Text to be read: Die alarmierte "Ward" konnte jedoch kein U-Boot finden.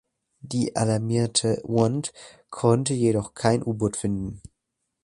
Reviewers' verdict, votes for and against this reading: rejected, 0, 2